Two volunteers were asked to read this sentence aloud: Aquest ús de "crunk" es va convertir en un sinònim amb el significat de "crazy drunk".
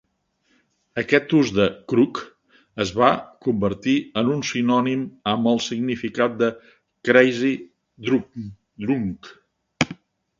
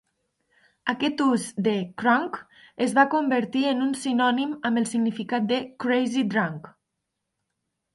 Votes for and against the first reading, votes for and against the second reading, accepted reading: 1, 2, 5, 1, second